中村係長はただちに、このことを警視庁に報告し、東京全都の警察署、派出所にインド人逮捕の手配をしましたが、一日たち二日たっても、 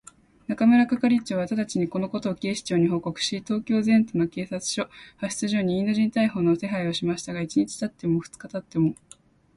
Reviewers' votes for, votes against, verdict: 3, 0, accepted